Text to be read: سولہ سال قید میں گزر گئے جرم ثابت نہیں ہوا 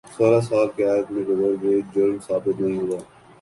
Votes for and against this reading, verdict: 5, 0, accepted